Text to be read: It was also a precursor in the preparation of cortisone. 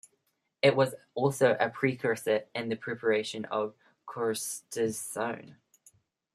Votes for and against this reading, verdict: 1, 2, rejected